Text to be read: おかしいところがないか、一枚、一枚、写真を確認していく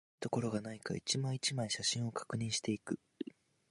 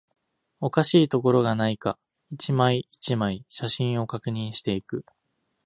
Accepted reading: second